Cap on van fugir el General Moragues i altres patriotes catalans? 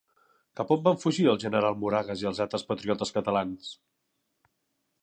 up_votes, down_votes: 2, 1